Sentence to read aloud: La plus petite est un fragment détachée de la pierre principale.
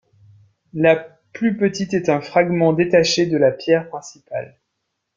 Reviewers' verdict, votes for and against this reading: rejected, 0, 2